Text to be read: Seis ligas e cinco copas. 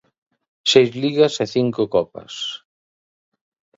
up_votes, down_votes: 2, 0